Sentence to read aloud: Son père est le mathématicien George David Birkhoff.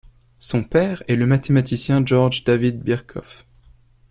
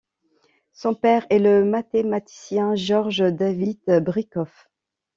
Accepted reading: first